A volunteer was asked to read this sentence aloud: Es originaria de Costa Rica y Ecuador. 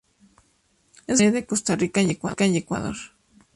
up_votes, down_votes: 0, 2